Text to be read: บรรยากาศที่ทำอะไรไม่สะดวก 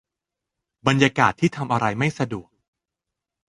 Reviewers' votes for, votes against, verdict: 0, 2, rejected